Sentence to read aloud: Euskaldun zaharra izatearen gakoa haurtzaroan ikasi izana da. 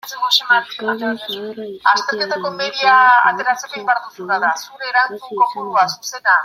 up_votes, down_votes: 0, 2